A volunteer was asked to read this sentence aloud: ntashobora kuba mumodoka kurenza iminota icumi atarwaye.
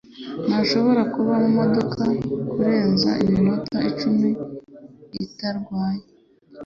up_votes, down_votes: 1, 2